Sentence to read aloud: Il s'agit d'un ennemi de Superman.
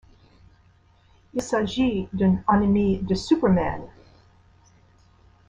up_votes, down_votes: 2, 1